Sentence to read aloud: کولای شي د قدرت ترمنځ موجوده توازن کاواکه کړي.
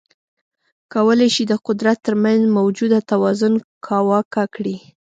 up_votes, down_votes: 2, 0